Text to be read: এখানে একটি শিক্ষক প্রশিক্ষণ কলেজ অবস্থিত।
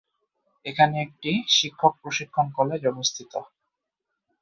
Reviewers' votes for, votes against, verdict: 0, 2, rejected